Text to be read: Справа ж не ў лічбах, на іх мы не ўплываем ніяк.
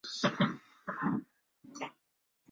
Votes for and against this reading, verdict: 0, 2, rejected